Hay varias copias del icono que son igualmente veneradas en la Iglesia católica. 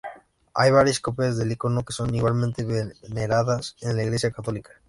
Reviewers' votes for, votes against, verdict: 2, 0, accepted